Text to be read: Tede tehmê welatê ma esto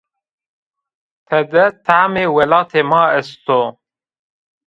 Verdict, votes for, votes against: rejected, 0, 2